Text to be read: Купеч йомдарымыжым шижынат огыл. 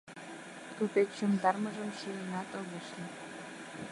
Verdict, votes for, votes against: rejected, 0, 2